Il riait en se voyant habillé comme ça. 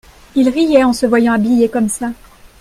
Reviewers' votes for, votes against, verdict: 2, 0, accepted